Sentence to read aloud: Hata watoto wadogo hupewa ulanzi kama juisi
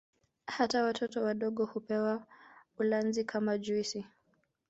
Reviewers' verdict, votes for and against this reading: accepted, 2, 1